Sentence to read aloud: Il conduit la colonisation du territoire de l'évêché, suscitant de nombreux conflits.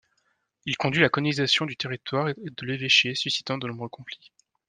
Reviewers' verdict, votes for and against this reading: rejected, 1, 2